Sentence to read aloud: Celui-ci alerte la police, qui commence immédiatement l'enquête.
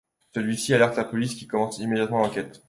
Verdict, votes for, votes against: accepted, 2, 0